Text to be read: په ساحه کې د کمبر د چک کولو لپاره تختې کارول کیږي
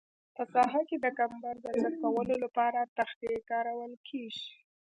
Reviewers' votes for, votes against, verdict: 2, 0, accepted